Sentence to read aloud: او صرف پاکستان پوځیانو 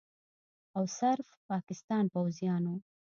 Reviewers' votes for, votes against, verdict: 2, 0, accepted